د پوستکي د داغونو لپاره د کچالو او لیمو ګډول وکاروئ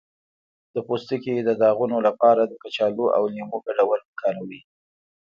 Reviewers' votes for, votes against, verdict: 2, 1, accepted